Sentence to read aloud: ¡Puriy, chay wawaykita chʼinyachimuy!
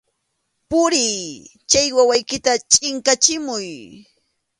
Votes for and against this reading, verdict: 0, 2, rejected